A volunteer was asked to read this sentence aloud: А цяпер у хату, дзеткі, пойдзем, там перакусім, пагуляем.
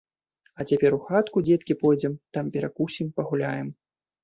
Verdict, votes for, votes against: rejected, 0, 2